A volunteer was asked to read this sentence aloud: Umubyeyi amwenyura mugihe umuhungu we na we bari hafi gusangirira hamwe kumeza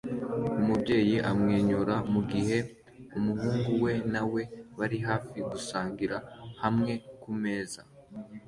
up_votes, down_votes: 2, 0